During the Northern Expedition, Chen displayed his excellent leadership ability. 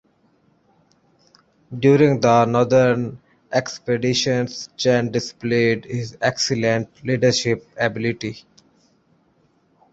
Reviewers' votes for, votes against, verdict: 0, 3, rejected